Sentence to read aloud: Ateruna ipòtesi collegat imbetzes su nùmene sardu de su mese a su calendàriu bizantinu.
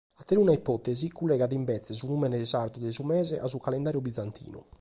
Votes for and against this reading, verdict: 2, 0, accepted